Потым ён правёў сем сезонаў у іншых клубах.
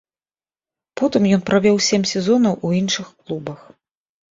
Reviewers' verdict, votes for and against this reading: accepted, 2, 0